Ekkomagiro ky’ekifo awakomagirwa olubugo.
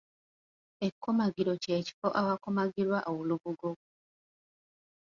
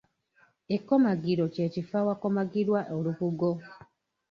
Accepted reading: first